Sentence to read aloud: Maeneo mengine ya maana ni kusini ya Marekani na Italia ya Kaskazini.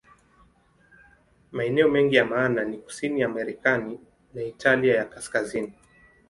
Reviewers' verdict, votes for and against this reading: rejected, 0, 2